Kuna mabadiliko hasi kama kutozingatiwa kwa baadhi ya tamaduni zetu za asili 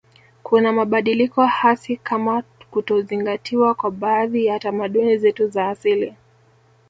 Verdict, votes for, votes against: accepted, 4, 2